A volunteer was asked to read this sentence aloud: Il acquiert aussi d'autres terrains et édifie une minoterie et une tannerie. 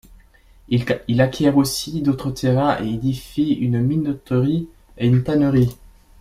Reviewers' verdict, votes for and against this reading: rejected, 1, 2